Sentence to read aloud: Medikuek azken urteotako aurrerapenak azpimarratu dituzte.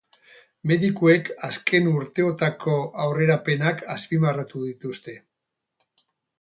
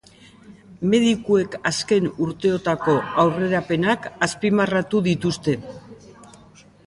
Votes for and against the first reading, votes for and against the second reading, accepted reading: 0, 2, 2, 0, second